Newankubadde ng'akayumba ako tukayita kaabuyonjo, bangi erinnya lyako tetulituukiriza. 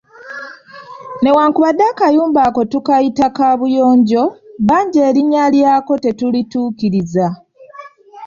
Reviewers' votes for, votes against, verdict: 0, 2, rejected